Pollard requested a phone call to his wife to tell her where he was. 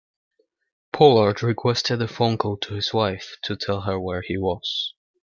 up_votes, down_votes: 2, 0